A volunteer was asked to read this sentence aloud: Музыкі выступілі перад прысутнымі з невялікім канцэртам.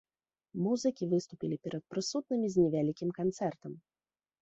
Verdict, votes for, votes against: rejected, 1, 2